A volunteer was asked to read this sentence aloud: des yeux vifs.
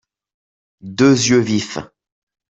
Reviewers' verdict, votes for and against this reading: rejected, 0, 2